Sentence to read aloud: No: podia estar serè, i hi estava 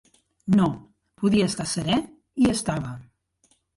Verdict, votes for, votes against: rejected, 0, 2